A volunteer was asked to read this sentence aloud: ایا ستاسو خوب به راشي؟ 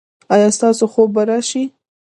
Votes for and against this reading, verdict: 1, 2, rejected